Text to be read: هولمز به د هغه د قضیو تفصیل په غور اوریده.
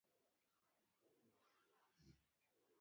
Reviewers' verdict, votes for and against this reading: rejected, 1, 2